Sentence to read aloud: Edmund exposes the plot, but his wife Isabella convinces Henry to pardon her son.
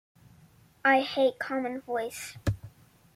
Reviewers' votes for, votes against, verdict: 0, 2, rejected